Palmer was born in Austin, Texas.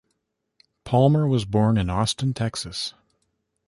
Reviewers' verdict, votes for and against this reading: accepted, 2, 1